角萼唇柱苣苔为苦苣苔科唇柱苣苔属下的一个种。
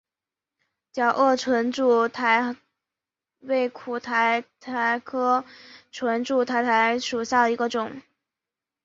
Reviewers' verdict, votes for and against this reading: rejected, 0, 3